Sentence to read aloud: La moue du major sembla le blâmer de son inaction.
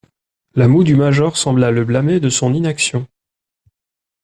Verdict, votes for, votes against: accepted, 2, 1